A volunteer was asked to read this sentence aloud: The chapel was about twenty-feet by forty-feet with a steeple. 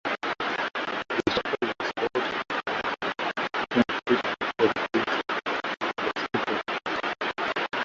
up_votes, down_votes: 0, 2